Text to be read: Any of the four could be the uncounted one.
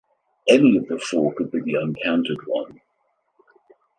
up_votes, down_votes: 2, 0